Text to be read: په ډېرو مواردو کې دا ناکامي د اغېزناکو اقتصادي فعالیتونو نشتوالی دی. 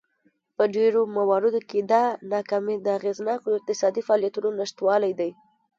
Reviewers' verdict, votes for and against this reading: rejected, 1, 2